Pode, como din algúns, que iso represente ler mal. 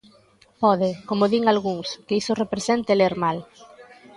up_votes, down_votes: 2, 1